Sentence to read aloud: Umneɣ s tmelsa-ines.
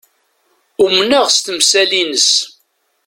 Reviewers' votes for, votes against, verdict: 1, 2, rejected